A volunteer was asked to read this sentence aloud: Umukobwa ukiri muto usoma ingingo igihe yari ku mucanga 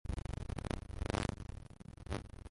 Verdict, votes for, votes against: rejected, 0, 2